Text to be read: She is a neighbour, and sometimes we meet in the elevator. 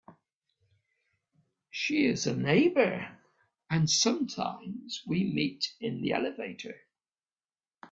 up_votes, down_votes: 2, 0